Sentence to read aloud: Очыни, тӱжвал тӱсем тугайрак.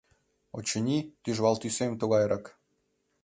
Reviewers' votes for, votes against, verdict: 2, 0, accepted